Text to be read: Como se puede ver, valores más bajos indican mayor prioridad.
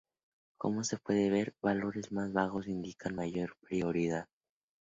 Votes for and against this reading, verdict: 2, 0, accepted